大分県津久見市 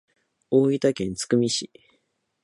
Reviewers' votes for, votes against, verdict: 2, 0, accepted